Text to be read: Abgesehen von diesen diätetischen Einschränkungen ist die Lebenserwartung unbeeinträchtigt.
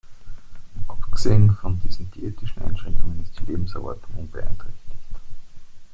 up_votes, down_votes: 2, 0